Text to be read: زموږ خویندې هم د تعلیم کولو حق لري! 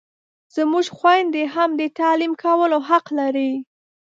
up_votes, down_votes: 2, 0